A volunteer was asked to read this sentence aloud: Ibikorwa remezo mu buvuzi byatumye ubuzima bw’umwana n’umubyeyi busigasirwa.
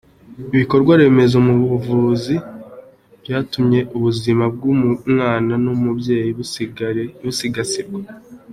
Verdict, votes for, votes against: accepted, 2, 0